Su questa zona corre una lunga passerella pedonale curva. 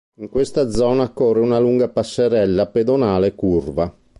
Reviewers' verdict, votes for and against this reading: rejected, 0, 2